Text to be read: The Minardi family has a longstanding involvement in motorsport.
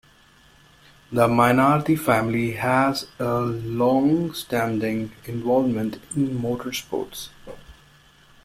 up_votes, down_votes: 0, 2